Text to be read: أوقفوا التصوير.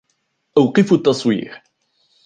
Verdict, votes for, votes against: accepted, 2, 0